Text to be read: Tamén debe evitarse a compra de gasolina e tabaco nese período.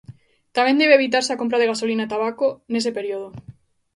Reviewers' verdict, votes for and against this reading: rejected, 1, 2